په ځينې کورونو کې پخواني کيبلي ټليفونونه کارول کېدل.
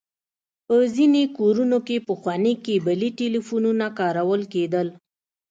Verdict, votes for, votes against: accepted, 2, 0